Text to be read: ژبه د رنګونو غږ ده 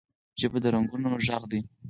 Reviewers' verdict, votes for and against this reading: accepted, 4, 0